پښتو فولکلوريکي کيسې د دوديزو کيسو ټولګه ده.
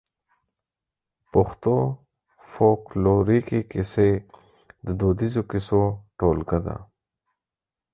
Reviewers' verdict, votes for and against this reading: accepted, 4, 0